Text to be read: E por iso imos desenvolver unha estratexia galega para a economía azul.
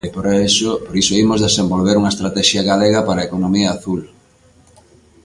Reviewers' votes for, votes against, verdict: 0, 2, rejected